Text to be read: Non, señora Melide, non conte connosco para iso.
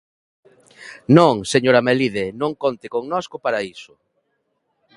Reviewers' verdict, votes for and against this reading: accepted, 2, 0